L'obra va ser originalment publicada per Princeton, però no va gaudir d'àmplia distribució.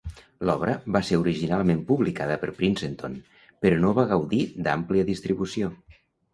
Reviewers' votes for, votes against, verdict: 1, 2, rejected